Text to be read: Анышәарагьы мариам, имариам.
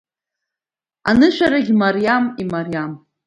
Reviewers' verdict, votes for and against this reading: accepted, 2, 1